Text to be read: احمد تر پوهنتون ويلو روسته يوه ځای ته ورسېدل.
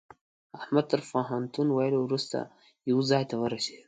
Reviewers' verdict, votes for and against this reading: accepted, 2, 0